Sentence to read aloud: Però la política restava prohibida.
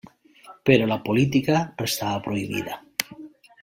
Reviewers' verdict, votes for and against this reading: accepted, 2, 1